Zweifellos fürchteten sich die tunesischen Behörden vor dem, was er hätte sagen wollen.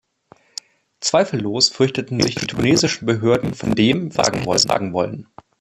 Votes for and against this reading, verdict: 1, 2, rejected